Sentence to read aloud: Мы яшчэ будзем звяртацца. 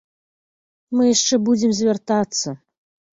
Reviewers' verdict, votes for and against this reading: accepted, 2, 0